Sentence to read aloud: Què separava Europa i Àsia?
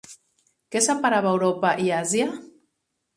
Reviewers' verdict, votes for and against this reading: accepted, 6, 0